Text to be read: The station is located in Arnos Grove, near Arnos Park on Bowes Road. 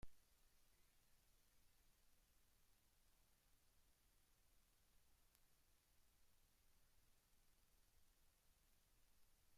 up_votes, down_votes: 0, 2